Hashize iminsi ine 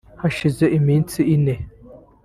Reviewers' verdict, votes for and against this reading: rejected, 0, 2